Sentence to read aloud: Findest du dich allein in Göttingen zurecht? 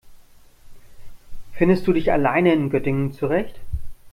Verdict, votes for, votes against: accepted, 2, 1